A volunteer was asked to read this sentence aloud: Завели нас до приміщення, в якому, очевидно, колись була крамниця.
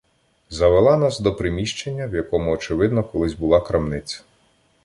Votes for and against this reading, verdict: 1, 2, rejected